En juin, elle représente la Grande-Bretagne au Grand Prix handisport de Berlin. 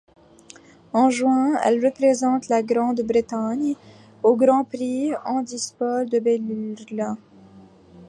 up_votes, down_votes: 1, 2